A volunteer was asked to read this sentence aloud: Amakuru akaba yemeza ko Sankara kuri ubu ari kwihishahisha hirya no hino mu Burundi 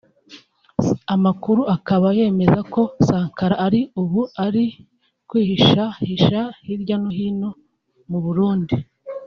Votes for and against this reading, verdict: 0, 2, rejected